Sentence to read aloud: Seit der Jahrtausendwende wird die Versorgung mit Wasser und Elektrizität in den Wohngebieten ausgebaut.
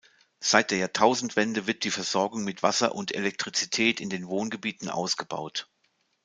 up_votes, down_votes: 2, 0